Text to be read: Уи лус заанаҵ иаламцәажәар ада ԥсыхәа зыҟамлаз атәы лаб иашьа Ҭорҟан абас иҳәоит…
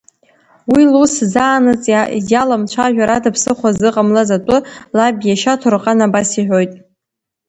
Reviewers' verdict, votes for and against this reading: rejected, 0, 2